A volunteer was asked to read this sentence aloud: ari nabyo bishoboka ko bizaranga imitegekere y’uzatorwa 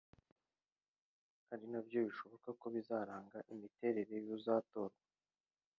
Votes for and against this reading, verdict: 0, 2, rejected